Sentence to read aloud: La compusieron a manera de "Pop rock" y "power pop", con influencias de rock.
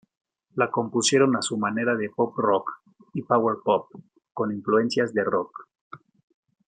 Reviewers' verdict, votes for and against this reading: rejected, 0, 2